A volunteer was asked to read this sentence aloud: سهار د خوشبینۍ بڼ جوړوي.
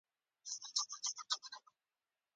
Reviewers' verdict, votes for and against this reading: rejected, 0, 2